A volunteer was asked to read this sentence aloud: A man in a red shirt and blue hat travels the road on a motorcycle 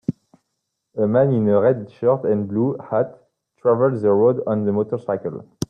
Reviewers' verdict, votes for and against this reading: accepted, 2, 1